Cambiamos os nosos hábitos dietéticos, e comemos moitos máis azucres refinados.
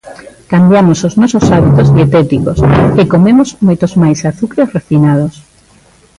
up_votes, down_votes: 1, 2